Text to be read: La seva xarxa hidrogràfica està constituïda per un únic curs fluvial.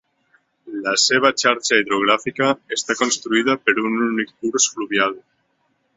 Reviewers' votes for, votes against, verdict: 1, 2, rejected